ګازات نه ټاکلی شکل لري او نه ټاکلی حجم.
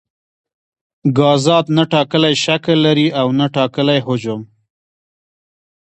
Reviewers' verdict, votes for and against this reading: accepted, 2, 1